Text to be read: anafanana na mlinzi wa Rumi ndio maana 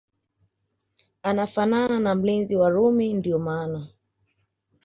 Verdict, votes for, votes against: accepted, 2, 0